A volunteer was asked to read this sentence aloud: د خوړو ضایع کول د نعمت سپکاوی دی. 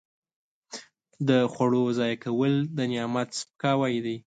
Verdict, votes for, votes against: accepted, 2, 0